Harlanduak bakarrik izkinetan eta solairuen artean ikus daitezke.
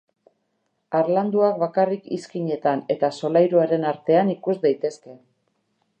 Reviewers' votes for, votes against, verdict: 2, 2, rejected